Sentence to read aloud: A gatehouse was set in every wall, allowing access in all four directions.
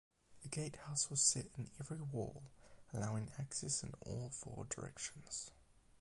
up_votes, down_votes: 4, 4